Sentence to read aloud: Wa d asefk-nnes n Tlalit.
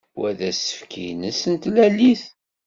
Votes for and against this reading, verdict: 2, 1, accepted